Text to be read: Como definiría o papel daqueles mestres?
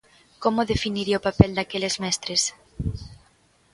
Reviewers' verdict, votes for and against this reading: accepted, 3, 0